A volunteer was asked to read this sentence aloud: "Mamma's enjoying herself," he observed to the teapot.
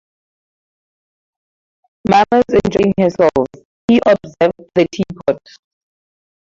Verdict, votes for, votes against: rejected, 0, 4